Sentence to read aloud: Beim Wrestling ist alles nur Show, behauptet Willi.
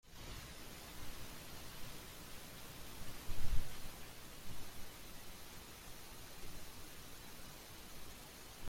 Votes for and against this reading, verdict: 0, 2, rejected